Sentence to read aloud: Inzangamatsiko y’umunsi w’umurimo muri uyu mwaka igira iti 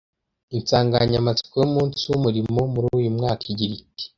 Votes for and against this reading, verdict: 0, 2, rejected